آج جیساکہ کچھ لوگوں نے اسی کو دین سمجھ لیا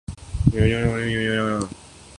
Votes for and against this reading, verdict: 0, 2, rejected